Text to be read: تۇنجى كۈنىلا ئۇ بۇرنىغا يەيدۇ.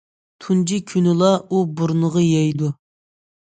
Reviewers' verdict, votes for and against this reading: accepted, 2, 0